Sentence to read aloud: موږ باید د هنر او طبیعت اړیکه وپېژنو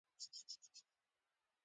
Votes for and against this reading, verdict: 1, 2, rejected